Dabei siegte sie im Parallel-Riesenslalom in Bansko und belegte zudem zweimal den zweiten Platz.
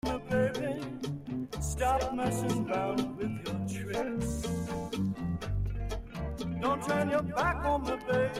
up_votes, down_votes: 0, 2